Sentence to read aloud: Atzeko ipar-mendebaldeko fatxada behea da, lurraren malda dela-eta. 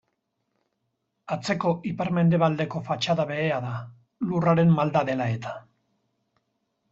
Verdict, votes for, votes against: accepted, 4, 0